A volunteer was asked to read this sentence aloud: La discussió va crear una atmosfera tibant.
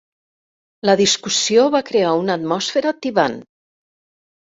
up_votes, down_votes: 0, 2